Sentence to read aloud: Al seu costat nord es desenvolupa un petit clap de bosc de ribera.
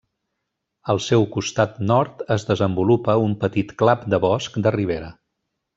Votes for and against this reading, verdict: 3, 0, accepted